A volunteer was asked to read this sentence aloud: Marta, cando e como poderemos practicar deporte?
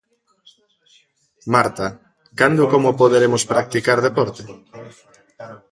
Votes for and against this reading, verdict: 1, 2, rejected